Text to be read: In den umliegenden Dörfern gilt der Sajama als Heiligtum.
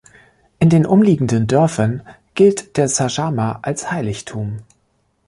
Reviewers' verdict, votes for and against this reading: accepted, 2, 0